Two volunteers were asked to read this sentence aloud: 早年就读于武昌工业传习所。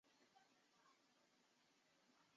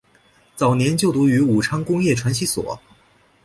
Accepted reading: second